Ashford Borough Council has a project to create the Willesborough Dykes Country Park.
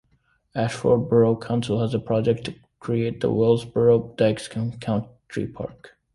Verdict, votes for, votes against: accepted, 2, 1